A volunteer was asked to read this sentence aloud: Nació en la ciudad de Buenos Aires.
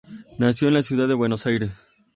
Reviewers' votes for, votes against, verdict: 2, 0, accepted